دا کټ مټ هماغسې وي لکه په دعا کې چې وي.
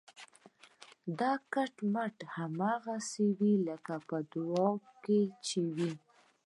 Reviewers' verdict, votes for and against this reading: rejected, 0, 2